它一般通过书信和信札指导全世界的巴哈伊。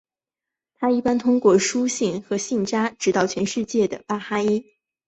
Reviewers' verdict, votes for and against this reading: accepted, 3, 0